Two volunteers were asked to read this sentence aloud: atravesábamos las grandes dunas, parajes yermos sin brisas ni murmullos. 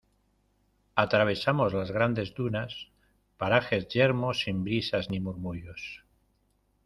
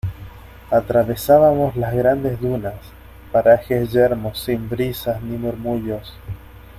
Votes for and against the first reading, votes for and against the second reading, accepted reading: 1, 2, 2, 0, second